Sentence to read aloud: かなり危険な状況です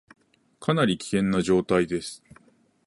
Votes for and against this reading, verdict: 0, 2, rejected